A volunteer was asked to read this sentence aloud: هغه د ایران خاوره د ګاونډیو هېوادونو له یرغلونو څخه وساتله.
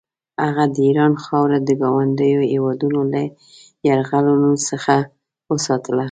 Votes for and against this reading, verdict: 1, 2, rejected